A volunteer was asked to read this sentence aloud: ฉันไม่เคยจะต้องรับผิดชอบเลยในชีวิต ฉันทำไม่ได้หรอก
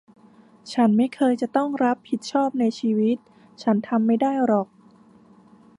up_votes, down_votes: 0, 2